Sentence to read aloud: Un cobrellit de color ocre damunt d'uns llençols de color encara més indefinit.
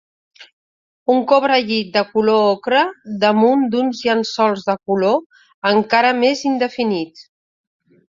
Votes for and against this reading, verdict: 3, 0, accepted